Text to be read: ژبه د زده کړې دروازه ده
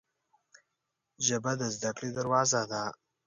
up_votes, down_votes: 2, 0